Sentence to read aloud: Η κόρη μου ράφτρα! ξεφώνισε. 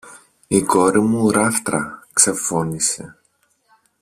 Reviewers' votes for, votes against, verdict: 2, 0, accepted